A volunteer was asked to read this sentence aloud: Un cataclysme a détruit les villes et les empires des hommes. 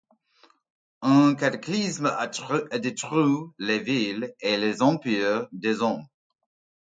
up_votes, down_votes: 1, 2